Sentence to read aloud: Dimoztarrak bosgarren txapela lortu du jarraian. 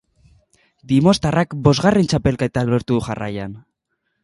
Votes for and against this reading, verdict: 0, 2, rejected